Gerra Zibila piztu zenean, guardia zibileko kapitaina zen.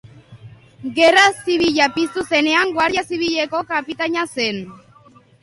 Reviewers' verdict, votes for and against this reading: accepted, 2, 0